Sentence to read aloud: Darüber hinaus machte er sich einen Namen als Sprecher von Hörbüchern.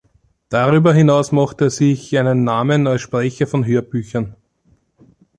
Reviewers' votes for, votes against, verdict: 2, 0, accepted